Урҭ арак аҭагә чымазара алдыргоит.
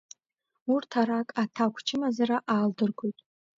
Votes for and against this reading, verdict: 1, 2, rejected